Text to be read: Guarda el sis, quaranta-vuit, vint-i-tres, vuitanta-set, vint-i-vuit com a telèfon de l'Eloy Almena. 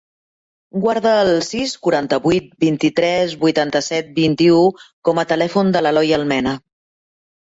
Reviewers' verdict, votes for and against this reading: rejected, 1, 2